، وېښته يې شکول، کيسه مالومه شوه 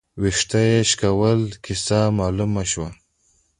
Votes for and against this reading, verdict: 2, 0, accepted